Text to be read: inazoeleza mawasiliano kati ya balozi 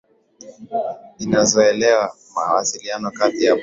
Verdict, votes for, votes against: rejected, 0, 2